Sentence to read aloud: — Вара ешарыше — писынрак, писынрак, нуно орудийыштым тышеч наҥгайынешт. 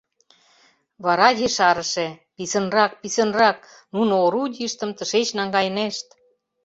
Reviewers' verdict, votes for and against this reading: accepted, 2, 0